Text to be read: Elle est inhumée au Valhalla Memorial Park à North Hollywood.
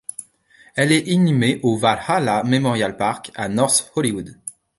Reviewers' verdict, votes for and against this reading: rejected, 0, 2